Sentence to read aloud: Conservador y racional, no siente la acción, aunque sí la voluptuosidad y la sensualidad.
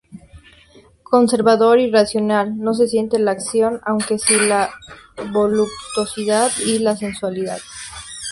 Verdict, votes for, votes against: rejected, 0, 2